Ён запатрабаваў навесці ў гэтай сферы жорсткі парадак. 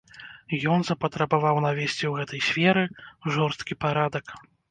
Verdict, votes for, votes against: accepted, 2, 0